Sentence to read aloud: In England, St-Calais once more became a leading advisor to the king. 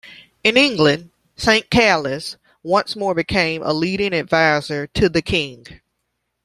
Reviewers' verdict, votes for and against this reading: accepted, 2, 1